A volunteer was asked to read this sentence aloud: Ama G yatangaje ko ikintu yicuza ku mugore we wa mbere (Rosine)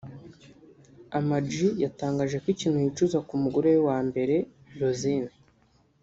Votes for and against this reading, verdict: 1, 2, rejected